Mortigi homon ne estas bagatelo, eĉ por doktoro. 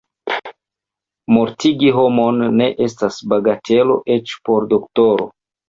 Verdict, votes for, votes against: rejected, 1, 2